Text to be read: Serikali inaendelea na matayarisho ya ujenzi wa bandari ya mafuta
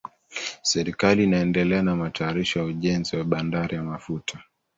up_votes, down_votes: 1, 2